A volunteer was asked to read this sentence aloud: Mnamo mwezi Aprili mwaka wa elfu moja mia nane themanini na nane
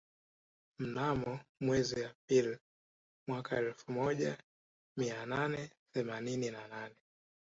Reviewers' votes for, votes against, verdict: 0, 2, rejected